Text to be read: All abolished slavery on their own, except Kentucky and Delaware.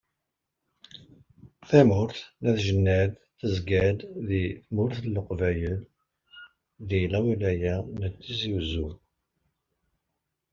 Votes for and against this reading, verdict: 1, 2, rejected